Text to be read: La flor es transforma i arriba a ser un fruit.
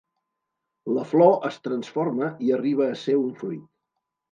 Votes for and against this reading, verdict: 2, 0, accepted